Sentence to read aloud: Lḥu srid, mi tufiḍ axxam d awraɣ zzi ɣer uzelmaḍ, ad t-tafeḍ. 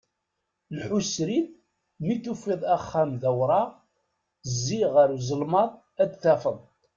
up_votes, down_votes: 2, 0